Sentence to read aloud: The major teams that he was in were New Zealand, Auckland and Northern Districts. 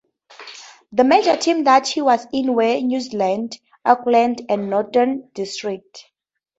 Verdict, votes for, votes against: accepted, 2, 0